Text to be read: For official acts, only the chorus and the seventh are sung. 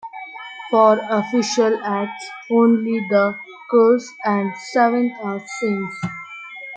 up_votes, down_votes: 0, 2